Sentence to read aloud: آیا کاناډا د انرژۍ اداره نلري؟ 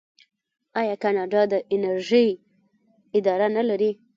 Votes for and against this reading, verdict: 1, 2, rejected